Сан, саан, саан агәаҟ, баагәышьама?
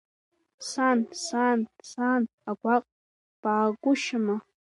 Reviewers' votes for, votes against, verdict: 2, 1, accepted